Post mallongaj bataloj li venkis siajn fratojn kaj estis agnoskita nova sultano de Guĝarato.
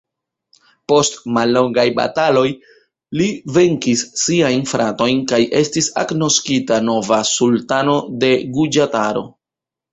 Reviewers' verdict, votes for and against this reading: rejected, 1, 2